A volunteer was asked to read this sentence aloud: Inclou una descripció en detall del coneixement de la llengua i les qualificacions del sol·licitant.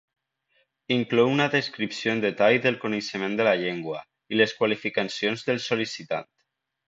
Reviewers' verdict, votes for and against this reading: rejected, 1, 2